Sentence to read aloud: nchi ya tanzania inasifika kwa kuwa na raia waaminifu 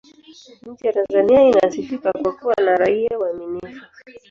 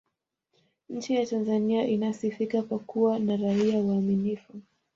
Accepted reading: second